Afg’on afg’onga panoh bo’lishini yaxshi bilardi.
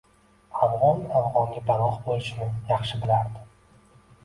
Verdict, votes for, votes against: accepted, 2, 0